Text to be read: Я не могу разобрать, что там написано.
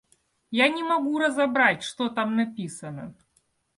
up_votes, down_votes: 2, 0